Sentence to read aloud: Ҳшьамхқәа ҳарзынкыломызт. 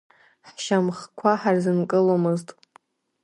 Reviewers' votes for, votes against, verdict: 4, 0, accepted